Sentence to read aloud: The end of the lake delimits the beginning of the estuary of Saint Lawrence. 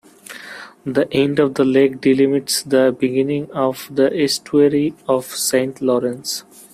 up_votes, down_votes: 2, 1